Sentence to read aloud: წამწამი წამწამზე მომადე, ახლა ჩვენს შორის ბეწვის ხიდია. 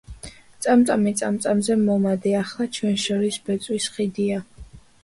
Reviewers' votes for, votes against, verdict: 2, 0, accepted